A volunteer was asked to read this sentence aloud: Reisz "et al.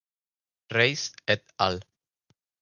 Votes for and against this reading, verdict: 2, 2, rejected